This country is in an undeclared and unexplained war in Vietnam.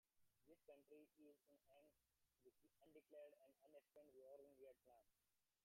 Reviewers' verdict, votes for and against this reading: rejected, 0, 2